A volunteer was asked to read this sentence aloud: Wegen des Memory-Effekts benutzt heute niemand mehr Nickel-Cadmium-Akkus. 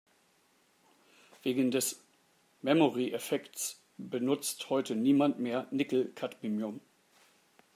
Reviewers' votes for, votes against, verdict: 0, 2, rejected